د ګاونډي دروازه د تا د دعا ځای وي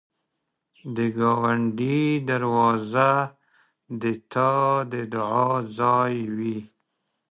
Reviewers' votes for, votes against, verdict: 2, 0, accepted